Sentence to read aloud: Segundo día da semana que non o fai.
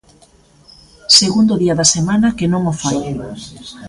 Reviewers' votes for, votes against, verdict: 1, 2, rejected